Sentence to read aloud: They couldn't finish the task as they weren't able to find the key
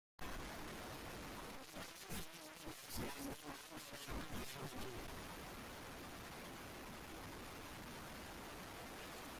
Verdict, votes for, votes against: rejected, 0, 2